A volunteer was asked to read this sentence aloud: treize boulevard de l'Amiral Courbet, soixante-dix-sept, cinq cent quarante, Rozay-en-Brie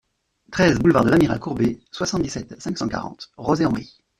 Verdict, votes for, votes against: rejected, 1, 2